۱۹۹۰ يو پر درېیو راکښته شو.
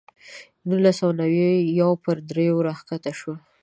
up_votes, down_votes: 0, 2